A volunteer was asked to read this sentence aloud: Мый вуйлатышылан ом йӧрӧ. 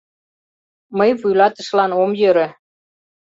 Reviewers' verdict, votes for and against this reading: accepted, 2, 0